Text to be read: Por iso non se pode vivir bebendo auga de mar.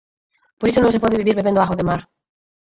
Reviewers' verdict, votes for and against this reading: rejected, 2, 4